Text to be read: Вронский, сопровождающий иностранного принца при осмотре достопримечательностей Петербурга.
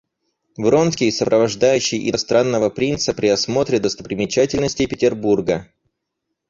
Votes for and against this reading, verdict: 0, 4, rejected